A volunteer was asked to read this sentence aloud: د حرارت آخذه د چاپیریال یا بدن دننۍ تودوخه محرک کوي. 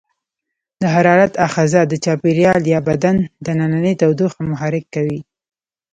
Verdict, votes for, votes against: accepted, 2, 0